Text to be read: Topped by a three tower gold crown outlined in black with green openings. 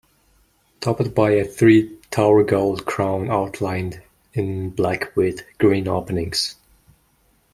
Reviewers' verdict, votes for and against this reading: rejected, 1, 2